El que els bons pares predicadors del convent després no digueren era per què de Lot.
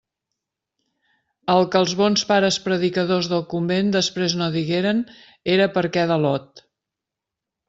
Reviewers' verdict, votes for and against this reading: accepted, 2, 0